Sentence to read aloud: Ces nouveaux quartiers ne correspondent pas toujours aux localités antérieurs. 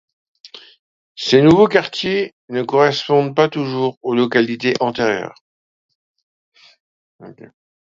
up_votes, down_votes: 2, 1